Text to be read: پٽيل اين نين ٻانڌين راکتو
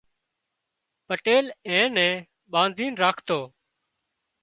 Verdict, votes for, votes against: accepted, 3, 0